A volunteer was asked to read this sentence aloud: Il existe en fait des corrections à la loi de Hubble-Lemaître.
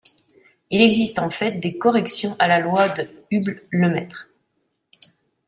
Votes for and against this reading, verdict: 2, 0, accepted